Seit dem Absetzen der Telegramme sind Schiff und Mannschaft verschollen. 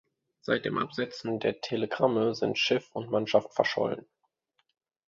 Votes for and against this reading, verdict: 2, 1, accepted